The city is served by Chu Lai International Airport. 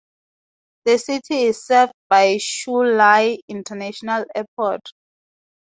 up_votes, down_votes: 2, 0